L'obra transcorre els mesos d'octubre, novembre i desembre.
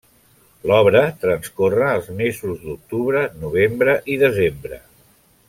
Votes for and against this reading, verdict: 3, 0, accepted